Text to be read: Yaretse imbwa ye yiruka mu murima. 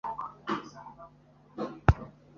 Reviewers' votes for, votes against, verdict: 0, 2, rejected